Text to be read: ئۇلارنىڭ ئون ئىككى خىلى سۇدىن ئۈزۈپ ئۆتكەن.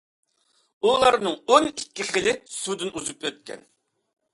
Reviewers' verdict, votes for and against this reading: accepted, 2, 0